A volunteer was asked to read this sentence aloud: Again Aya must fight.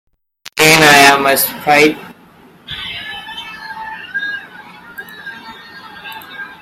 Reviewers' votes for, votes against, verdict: 0, 2, rejected